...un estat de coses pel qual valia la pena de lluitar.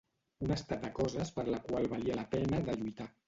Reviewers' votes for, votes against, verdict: 0, 2, rejected